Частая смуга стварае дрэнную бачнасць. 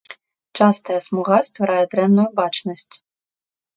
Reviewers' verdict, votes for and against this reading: accepted, 2, 0